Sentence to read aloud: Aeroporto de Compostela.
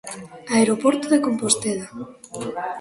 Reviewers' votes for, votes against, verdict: 1, 2, rejected